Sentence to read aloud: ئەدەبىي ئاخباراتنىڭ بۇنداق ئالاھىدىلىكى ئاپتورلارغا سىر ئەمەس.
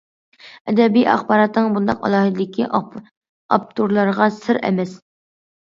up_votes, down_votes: 1, 2